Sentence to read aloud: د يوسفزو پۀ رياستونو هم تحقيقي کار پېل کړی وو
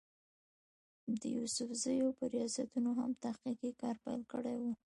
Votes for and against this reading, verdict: 1, 2, rejected